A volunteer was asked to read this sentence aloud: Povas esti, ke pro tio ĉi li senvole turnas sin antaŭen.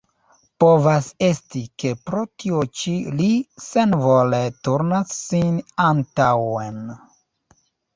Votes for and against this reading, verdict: 0, 2, rejected